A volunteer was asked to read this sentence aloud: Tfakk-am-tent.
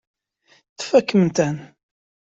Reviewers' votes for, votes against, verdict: 1, 2, rejected